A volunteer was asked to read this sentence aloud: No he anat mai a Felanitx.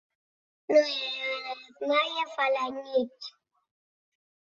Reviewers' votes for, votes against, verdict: 2, 3, rejected